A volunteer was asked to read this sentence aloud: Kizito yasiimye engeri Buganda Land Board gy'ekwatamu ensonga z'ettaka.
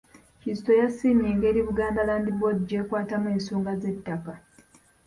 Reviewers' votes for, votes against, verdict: 2, 0, accepted